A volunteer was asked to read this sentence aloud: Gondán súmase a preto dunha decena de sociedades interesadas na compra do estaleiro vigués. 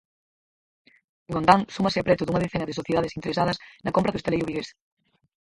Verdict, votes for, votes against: rejected, 0, 4